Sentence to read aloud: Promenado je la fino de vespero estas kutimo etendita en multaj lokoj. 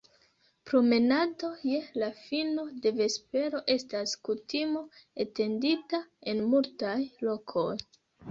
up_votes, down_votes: 1, 2